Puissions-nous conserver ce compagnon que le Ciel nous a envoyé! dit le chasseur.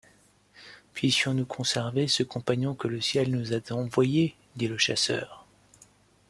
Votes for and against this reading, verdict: 2, 0, accepted